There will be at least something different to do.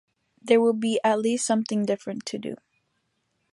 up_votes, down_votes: 3, 0